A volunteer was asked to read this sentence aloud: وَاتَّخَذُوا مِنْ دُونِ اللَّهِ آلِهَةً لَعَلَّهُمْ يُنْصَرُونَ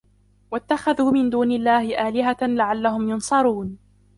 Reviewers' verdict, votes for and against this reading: accepted, 3, 2